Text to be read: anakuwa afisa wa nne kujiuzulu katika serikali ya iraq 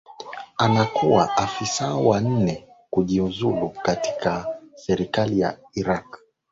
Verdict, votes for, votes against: accepted, 2, 0